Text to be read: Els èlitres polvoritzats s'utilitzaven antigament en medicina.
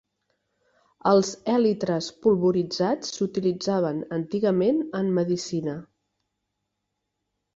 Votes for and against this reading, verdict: 3, 0, accepted